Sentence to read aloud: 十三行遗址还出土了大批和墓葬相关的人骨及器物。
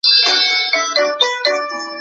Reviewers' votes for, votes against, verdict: 0, 3, rejected